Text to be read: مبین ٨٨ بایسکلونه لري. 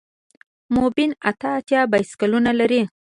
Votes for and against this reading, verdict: 0, 2, rejected